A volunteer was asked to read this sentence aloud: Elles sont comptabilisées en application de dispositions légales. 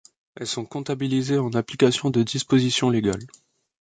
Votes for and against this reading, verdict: 2, 0, accepted